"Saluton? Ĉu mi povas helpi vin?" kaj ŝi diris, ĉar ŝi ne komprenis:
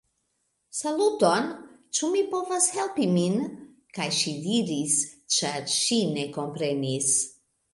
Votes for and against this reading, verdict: 0, 2, rejected